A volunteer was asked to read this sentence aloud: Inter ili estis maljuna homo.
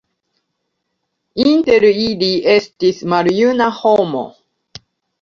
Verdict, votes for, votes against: accepted, 2, 0